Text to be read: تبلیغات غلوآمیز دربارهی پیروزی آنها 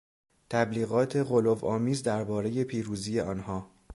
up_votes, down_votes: 2, 0